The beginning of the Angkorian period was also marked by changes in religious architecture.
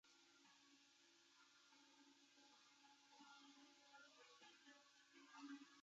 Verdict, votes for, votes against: rejected, 0, 2